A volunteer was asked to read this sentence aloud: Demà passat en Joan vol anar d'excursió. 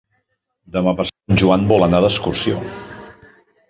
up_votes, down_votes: 0, 2